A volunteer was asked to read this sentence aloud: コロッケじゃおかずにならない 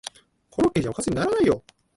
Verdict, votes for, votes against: rejected, 1, 2